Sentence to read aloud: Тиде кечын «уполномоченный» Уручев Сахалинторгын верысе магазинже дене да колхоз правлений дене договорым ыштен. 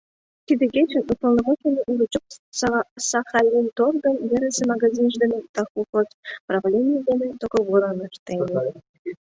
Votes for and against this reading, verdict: 2, 1, accepted